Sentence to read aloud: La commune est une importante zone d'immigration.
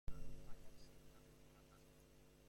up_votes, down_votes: 0, 2